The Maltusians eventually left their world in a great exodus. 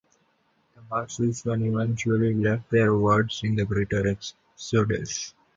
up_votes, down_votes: 0, 2